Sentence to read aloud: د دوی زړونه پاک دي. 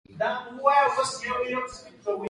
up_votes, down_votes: 2, 3